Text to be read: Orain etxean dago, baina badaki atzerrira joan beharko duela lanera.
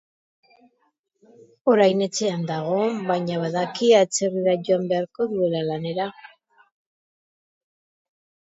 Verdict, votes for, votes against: rejected, 1, 2